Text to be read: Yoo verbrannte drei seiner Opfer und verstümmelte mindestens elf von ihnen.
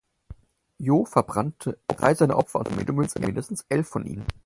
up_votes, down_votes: 2, 6